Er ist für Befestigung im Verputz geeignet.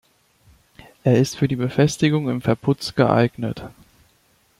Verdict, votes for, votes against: rejected, 1, 2